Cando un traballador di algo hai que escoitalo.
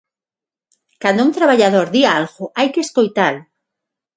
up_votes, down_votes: 9, 0